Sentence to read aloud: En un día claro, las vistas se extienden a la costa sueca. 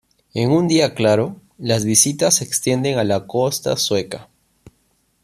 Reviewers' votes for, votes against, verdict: 1, 2, rejected